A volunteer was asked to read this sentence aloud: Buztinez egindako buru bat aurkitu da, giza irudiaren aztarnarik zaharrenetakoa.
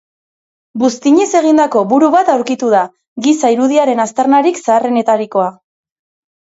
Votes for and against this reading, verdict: 1, 3, rejected